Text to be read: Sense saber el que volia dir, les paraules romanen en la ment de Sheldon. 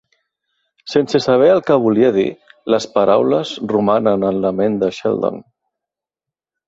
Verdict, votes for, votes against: accepted, 2, 0